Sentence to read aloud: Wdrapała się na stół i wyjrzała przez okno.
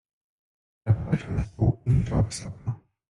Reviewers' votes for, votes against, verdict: 0, 2, rejected